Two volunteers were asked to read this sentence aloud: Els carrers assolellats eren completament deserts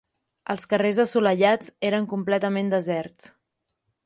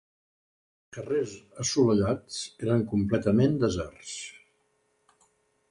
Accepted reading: first